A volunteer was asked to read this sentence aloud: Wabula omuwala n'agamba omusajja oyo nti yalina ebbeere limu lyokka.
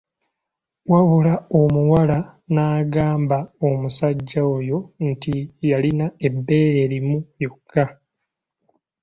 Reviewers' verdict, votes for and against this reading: accepted, 2, 0